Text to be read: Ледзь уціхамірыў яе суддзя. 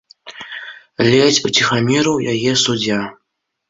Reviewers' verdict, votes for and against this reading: accepted, 2, 0